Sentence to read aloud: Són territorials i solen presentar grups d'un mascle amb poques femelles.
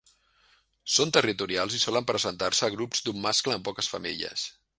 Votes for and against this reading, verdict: 0, 2, rejected